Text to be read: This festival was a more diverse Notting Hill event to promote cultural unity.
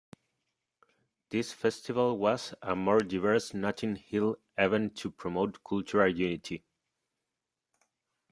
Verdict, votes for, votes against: accepted, 2, 0